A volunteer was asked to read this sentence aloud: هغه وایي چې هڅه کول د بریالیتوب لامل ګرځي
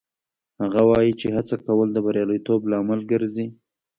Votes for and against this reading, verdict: 2, 1, accepted